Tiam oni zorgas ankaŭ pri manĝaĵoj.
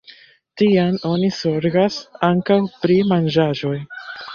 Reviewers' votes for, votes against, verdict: 0, 2, rejected